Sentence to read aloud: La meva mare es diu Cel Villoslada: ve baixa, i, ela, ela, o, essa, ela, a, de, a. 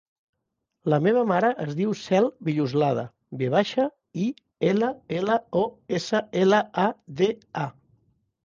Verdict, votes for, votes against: accepted, 2, 0